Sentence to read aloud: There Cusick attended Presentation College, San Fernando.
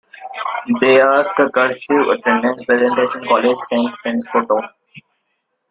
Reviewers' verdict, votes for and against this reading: rejected, 0, 2